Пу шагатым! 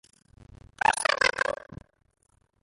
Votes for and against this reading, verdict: 0, 2, rejected